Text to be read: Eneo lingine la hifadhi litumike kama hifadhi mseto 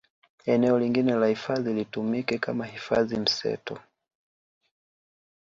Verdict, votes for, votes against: accepted, 2, 0